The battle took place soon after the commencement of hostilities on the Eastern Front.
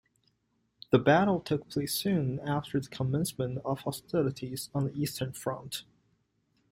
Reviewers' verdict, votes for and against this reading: accepted, 2, 0